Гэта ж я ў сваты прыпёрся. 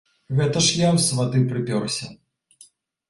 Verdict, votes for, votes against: accepted, 3, 0